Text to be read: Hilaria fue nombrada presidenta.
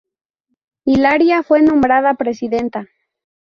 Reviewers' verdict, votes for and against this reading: accepted, 4, 0